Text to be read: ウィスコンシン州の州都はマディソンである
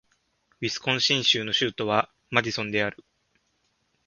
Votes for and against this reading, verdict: 3, 0, accepted